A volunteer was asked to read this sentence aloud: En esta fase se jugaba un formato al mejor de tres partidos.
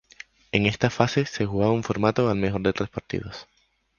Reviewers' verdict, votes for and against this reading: rejected, 0, 4